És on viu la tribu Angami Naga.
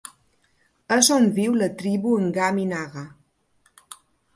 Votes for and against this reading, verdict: 2, 1, accepted